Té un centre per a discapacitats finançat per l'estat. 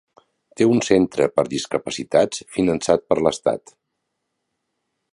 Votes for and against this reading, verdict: 1, 2, rejected